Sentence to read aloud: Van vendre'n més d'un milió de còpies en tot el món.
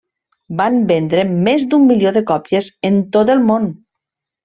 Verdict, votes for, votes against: accepted, 2, 0